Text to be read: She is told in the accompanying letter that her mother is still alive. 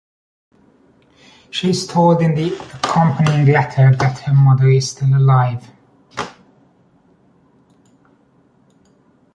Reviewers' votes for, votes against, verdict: 3, 1, accepted